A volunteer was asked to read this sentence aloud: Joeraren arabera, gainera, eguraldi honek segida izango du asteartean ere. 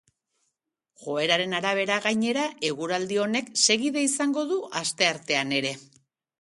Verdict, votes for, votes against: accepted, 2, 0